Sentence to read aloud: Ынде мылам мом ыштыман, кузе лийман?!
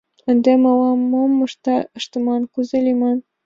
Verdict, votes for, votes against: rejected, 1, 2